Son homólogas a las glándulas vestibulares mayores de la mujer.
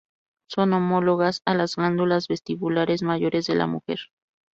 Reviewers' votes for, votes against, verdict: 2, 2, rejected